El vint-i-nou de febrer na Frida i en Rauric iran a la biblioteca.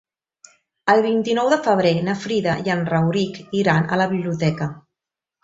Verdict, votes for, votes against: accepted, 3, 0